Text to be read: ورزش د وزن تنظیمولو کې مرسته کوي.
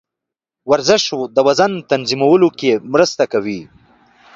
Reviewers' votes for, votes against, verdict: 2, 0, accepted